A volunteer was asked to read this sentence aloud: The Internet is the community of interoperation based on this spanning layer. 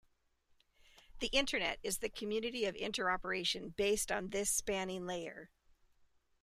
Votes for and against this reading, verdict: 2, 0, accepted